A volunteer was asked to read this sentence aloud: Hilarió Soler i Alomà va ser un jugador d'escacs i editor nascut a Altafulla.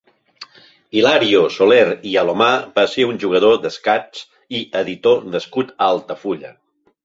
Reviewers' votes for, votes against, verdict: 0, 2, rejected